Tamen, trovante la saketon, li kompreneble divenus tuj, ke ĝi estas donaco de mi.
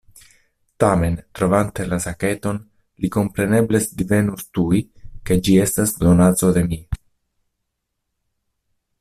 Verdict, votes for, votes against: rejected, 1, 2